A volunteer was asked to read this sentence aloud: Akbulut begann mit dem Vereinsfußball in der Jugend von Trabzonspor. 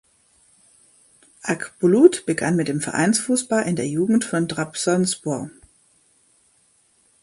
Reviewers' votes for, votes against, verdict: 2, 0, accepted